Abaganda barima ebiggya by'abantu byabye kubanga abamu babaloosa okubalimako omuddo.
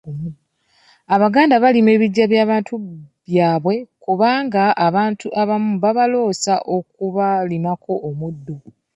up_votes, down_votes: 1, 2